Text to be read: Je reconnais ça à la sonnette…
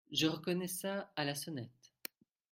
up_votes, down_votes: 2, 1